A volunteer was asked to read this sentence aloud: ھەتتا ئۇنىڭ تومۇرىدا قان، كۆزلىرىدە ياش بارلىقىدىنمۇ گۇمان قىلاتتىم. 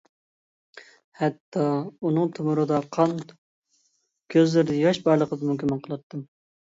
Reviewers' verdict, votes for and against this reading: rejected, 0, 2